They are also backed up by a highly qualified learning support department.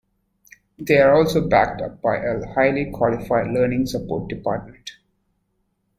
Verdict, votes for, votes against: accepted, 2, 0